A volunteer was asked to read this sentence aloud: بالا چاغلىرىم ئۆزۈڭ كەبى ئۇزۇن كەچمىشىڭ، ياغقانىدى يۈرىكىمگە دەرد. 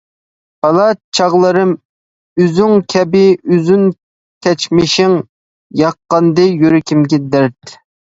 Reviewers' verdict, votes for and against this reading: rejected, 0, 2